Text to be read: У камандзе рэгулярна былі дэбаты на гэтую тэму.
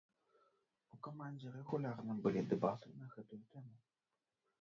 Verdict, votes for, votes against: rejected, 1, 2